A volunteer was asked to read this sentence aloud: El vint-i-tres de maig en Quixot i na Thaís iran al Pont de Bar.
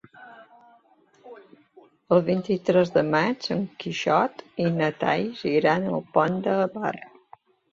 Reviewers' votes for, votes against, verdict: 2, 0, accepted